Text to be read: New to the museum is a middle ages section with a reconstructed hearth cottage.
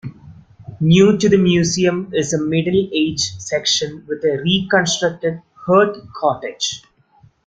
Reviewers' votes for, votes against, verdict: 2, 0, accepted